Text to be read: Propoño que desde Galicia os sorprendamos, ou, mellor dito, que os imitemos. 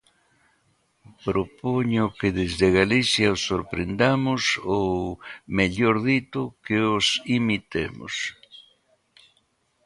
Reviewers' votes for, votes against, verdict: 2, 0, accepted